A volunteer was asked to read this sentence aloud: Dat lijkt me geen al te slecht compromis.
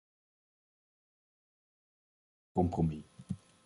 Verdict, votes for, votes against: rejected, 0, 2